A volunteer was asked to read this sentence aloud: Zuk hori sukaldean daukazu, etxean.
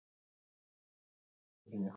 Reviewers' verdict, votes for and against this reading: rejected, 0, 4